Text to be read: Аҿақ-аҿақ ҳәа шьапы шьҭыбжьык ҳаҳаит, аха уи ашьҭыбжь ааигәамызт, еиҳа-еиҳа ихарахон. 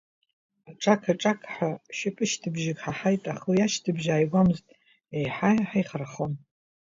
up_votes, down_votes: 1, 2